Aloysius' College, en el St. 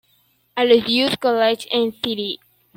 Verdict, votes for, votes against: accepted, 2, 0